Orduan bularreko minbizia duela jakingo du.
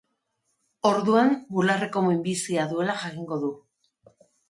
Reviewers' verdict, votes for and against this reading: accepted, 2, 0